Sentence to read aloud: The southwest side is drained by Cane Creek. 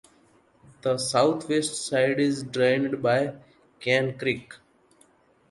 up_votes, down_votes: 2, 0